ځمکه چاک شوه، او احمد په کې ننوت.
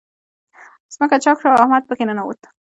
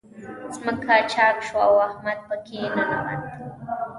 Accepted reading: first